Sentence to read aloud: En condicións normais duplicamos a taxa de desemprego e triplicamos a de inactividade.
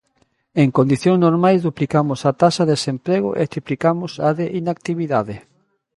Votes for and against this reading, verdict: 1, 2, rejected